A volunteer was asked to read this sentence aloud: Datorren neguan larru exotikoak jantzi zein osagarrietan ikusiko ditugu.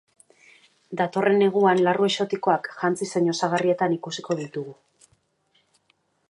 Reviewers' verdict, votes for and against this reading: accepted, 2, 0